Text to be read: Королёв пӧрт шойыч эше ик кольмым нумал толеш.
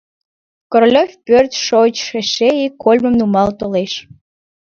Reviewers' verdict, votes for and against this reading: accepted, 2, 0